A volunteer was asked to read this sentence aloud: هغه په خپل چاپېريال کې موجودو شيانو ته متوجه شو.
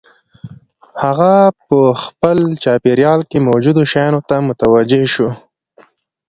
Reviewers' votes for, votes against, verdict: 1, 2, rejected